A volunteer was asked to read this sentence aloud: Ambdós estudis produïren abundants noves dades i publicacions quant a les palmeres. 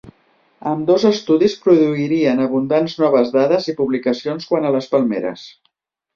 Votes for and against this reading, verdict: 1, 2, rejected